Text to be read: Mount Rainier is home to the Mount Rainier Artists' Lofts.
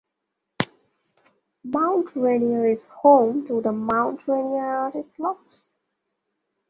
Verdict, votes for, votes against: accepted, 2, 0